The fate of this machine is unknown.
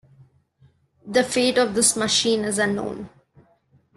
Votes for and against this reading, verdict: 2, 1, accepted